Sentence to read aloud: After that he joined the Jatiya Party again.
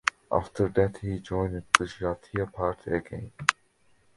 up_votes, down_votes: 2, 0